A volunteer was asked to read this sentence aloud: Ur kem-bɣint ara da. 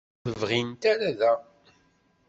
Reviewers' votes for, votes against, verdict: 1, 2, rejected